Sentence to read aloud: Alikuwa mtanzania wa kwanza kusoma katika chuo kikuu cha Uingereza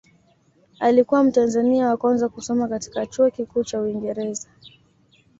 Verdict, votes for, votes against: accepted, 2, 0